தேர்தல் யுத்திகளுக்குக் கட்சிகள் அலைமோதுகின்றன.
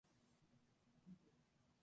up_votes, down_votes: 0, 2